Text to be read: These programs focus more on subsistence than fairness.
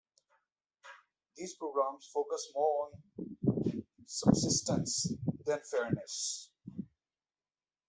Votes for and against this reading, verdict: 2, 1, accepted